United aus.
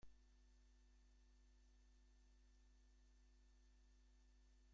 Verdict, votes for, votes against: rejected, 0, 2